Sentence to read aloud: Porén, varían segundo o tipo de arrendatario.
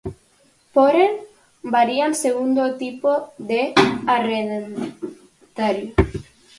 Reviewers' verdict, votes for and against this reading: rejected, 0, 4